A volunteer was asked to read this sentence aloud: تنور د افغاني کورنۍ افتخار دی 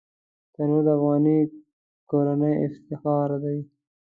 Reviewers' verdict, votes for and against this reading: rejected, 1, 2